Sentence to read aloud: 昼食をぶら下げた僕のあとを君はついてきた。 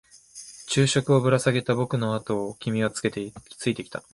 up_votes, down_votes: 0, 2